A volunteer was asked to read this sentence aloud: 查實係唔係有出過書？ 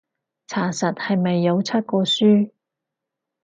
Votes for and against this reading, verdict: 2, 4, rejected